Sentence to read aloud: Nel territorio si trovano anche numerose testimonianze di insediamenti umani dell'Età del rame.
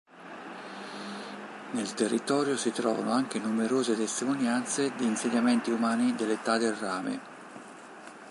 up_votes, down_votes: 3, 1